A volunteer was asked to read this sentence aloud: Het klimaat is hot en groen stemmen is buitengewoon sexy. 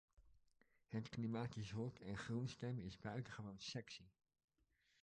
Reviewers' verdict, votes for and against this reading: rejected, 1, 2